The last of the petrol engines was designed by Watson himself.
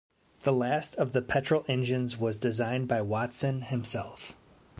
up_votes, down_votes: 2, 0